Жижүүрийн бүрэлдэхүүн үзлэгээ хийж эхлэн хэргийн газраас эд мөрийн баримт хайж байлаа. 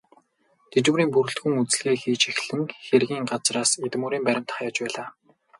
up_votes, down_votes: 2, 2